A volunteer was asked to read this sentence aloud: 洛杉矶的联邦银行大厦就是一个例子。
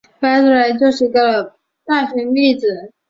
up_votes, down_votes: 0, 2